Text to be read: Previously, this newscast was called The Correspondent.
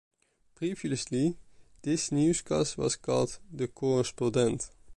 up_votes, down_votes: 1, 2